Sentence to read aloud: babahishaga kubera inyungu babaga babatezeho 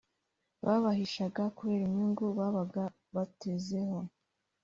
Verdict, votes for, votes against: rejected, 0, 2